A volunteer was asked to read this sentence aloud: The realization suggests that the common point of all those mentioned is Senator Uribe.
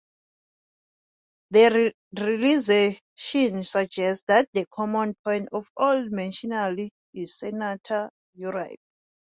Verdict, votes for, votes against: rejected, 0, 2